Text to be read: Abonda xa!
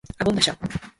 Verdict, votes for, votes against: rejected, 0, 4